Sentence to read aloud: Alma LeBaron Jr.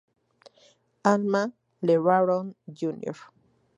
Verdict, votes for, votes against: accepted, 2, 0